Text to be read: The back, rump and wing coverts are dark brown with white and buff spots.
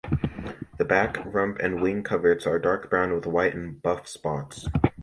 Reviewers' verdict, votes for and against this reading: rejected, 1, 2